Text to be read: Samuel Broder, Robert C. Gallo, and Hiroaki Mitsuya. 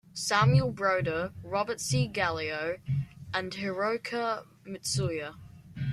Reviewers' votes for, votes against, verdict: 0, 2, rejected